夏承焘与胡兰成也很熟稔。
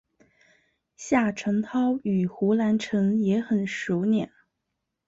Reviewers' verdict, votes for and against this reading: accepted, 2, 0